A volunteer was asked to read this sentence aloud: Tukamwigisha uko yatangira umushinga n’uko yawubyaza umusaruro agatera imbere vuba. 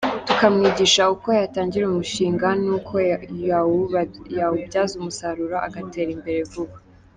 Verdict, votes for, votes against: rejected, 1, 2